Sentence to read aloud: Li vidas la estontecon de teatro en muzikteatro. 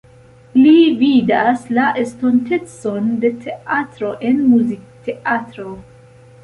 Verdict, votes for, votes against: rejected, 1, 2